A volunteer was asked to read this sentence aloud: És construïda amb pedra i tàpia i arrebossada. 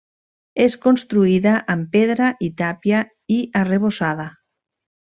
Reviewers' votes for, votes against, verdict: 3, 0, accepted